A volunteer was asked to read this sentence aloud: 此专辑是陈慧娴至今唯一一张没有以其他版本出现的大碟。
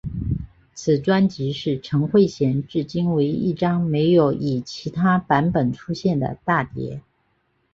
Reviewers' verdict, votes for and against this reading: accepted, 2, 0